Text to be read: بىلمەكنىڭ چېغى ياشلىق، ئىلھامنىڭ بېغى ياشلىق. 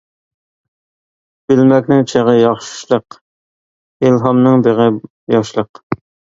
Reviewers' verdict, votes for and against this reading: rejected, 0, 2